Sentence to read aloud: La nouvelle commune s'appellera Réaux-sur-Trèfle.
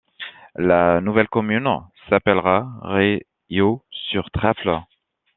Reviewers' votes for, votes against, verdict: 2, 1, accepted